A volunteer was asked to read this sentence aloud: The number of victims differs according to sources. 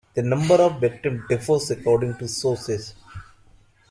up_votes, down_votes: 0, 2